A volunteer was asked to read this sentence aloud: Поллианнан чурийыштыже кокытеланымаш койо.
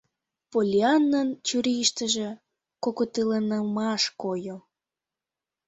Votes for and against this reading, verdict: 1, 2, rejected